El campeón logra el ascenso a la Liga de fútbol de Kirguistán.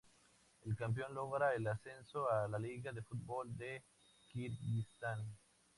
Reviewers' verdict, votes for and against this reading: accepted, 2, 0